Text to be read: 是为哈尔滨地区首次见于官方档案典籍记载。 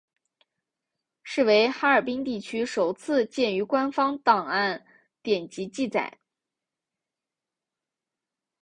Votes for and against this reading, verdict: 3, 0, accepted